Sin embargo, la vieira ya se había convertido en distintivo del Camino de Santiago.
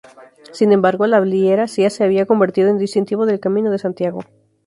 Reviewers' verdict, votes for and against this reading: rejected, 2, 2